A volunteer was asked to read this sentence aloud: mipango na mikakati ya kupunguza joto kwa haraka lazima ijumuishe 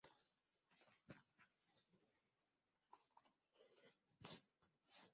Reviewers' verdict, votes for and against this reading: rejected, 0, 3